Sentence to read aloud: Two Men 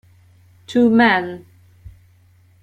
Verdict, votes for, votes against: rejected, 1, 2